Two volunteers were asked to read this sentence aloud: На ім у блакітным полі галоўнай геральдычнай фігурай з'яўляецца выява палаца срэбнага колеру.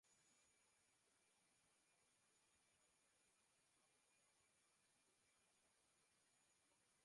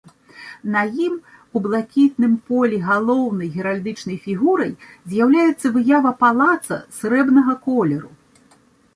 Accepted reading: second